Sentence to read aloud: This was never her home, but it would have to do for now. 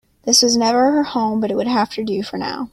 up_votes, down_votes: 2, 0